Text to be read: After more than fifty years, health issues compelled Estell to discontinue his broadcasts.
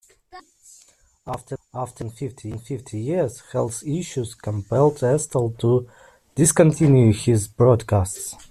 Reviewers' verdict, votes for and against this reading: accepted, 2, 1